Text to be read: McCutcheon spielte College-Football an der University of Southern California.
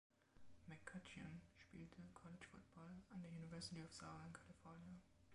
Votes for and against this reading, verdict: 0, 3, rejected